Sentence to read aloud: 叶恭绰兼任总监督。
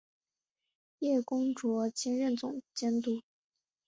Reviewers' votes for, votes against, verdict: 2, 1, accepted